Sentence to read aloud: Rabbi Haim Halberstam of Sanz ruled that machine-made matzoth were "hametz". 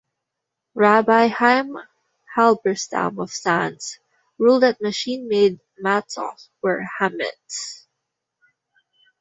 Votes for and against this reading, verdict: 1, 2, rejected